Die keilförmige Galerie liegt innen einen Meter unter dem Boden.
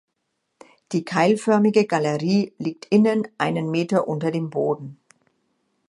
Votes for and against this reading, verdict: 2, 0, accepted